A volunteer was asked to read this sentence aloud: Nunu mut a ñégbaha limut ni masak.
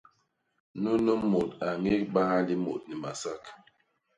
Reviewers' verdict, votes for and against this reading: rejected, 0, 2